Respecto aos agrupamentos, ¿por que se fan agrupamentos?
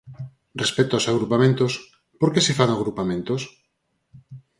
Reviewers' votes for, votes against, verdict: 4, 2, accepted